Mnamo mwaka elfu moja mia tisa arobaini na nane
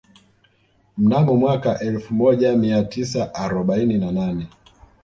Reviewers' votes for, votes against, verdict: 2, 0, accepted